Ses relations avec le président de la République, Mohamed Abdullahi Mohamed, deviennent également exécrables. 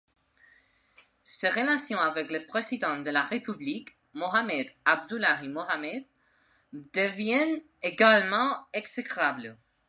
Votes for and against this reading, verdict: 2, 0, accepted